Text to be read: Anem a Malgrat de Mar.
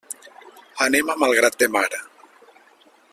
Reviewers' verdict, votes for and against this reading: accepted, 2, 0